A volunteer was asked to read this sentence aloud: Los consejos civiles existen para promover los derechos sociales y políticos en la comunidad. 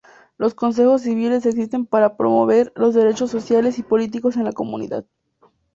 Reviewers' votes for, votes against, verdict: 2, 0, accepted